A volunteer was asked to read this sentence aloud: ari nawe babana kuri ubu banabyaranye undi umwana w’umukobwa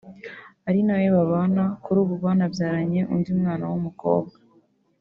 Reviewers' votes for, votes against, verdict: 0, 2, rejected